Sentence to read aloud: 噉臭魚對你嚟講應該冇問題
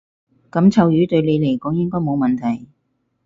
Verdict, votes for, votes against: accepted, 4, 0